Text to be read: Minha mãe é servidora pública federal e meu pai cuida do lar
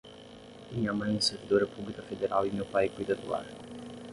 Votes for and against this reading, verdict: 6, 0, accepted